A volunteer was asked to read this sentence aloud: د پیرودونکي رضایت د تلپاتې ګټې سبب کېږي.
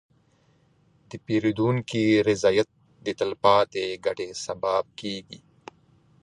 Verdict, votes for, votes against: rejected, 0, 2